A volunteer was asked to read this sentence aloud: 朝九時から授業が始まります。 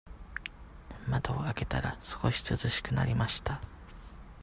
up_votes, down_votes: 0, 2